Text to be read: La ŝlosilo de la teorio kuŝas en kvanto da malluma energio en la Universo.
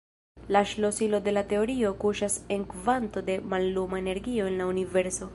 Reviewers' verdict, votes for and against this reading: accepted, 2, 0